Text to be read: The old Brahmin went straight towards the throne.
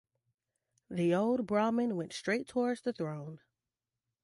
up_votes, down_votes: 2, 0